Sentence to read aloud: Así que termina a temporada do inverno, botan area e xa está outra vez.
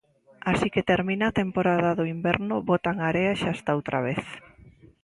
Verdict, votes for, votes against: accepted, 2, 0